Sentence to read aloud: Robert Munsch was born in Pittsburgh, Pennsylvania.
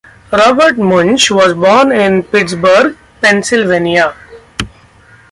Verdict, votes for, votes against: accepted, 2, 1